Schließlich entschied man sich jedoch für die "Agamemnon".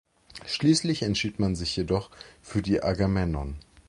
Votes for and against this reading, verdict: 1, 2, rejected